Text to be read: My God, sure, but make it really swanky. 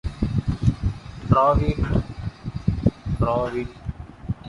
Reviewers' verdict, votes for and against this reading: rejected, 0, 2